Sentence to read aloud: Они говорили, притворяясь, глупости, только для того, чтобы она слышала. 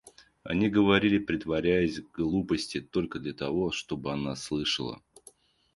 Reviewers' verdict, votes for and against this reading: rejected, 0, 2